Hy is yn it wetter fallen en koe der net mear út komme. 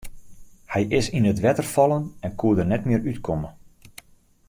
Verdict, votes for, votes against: accepted, 2, 1